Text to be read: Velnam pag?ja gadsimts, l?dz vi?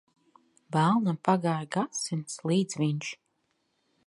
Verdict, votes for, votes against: rejected, 0, 2